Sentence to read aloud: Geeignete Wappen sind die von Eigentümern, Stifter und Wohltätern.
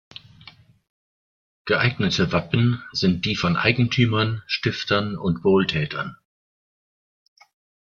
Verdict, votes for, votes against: rejected, 0, 2